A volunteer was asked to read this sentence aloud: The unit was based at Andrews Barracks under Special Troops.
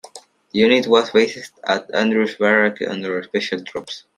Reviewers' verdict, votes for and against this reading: rejected, 0, 2